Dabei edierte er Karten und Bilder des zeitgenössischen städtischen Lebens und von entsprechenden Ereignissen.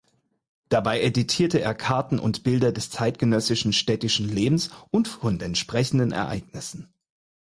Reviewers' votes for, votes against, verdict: 2, 4, rejected